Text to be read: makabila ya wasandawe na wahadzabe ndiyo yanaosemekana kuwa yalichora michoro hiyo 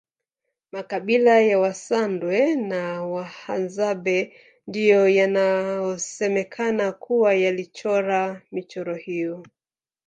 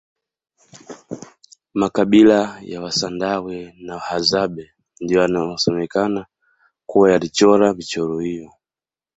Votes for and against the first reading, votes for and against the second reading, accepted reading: 1, 2, 2, 1, second